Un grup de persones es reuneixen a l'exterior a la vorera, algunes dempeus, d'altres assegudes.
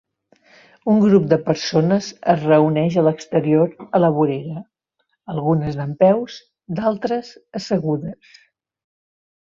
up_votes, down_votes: 0, 2